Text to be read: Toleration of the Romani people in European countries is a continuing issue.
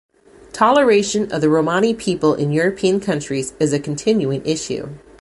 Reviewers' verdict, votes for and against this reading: accepted, 2, 0